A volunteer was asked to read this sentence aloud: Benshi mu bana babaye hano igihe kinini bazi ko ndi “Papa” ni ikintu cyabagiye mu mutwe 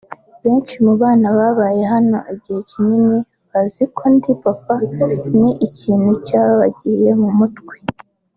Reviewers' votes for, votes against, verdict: 2, 1, accepted